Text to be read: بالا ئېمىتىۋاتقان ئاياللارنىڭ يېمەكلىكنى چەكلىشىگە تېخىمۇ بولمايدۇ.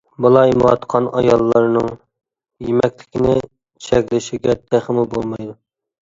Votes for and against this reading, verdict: 0, 2, rejected